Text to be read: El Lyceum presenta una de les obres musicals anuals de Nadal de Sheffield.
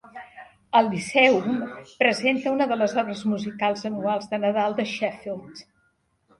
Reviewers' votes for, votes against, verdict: 4, 1, accepted